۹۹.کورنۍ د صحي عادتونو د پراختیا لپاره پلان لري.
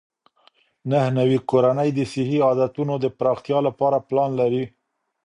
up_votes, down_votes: 0, 2